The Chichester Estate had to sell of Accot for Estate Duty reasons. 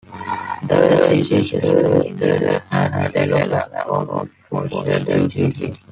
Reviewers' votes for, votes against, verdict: 0, 4, rejected